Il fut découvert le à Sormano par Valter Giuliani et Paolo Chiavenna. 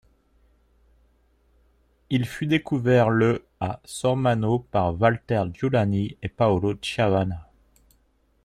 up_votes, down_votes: 1, 2